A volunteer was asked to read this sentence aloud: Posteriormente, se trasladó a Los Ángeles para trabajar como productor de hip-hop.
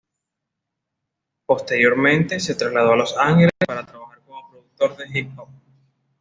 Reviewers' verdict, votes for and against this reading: accepted, 2, 0